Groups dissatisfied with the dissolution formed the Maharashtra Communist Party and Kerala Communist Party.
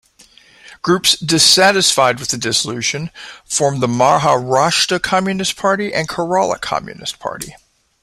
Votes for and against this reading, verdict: 2, 0, accepted